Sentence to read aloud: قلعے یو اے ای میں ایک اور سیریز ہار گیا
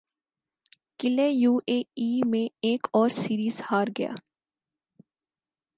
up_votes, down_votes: 4, 0